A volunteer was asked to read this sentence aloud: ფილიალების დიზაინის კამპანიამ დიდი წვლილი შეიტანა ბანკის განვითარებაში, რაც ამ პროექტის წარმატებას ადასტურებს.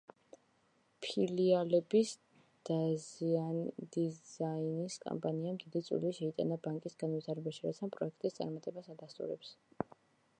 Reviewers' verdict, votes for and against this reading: rejected, 0, 2